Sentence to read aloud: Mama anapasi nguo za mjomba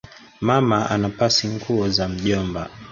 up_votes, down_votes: 3, 0